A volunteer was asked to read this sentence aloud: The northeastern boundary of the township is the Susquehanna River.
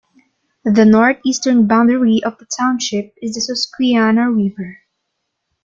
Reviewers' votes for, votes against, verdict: 1, 2, rejected